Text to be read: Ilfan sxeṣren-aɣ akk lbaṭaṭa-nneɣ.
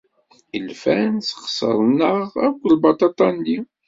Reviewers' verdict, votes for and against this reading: rejected, 1, 2